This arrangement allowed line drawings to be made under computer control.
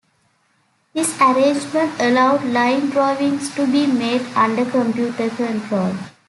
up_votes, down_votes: 2, 0